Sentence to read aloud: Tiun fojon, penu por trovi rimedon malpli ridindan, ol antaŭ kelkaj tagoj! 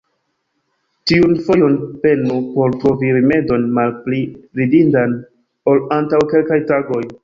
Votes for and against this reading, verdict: 2, 0, accepted